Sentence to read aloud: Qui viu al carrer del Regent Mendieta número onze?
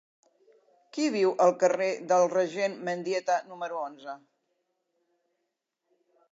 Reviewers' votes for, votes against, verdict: 5, 0, accepted